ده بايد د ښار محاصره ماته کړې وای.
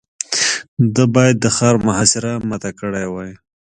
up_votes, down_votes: 3, 0